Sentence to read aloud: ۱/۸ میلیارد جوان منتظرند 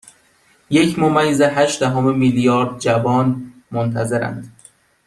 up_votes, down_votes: 0, 2